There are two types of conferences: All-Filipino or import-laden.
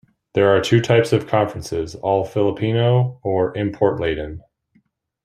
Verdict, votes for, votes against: accepted, 2, 0